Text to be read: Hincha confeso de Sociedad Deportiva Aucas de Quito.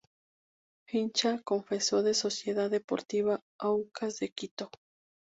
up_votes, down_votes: 2, 0